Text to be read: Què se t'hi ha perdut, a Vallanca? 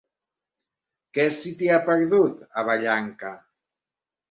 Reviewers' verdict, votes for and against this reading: rejected, 0, 2